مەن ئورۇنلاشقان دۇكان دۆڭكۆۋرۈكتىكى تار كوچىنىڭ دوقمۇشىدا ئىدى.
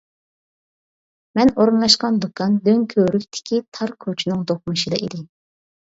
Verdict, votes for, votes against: accepted, 2, 0